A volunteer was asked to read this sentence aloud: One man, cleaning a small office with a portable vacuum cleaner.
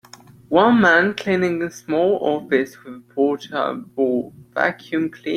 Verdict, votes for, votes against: rejected, 0, 2